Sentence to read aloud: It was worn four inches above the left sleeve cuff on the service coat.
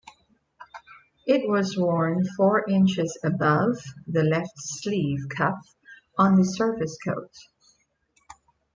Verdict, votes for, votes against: accepted, 2, 0